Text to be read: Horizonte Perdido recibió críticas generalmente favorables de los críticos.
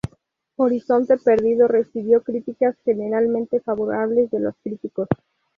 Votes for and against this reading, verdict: 2, 0, accepted